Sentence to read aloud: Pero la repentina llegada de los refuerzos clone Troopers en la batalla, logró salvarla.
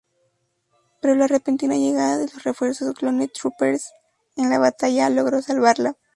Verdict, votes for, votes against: rejected, 0, 2